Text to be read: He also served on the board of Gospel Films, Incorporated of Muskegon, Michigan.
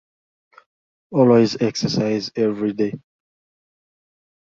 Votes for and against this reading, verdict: 0, 2, rejected